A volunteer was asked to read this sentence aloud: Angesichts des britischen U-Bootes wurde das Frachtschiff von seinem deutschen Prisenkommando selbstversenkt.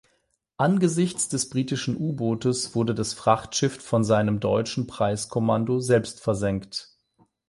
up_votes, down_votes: 4, 8